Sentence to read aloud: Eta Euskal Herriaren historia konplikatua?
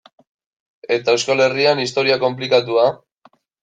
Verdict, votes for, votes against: rejected, 0, 2